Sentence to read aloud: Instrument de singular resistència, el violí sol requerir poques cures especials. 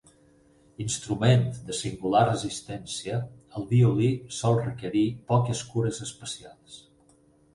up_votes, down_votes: 8, 0